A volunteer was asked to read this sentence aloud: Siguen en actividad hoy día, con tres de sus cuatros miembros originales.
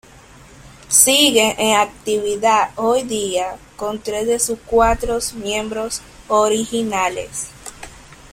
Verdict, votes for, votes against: rejected, 0, 2